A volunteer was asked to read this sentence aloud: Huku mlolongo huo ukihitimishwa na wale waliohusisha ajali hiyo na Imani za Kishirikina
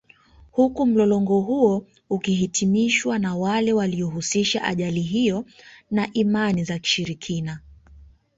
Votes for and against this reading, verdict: 2, 0, accepted